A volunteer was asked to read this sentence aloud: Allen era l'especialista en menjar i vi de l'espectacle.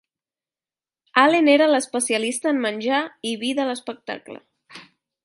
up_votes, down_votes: 2, 0